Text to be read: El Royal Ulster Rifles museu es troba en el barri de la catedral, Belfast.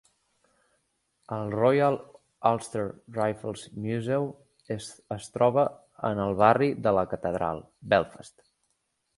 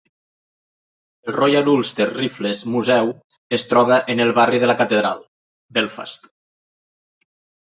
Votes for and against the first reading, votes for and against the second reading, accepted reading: 1, 2, 2, 0, second